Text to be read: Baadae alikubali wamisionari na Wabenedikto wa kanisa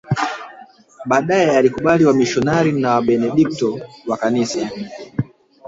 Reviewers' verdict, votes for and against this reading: rejected, 0, 2